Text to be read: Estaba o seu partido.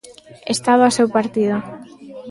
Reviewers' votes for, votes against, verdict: 2, 0, accepted